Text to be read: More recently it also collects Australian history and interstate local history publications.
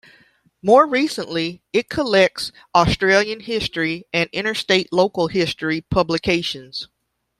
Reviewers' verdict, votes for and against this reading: rejected, 0, 2